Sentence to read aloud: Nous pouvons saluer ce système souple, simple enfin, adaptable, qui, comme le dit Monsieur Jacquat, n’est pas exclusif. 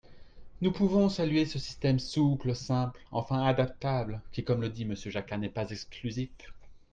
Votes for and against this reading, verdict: 4, 1, accepted